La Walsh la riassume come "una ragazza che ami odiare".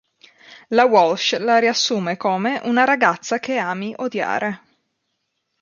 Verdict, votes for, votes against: accepted, 3, 0